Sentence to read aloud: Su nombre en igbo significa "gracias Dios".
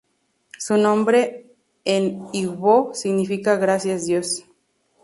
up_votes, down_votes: 0, 2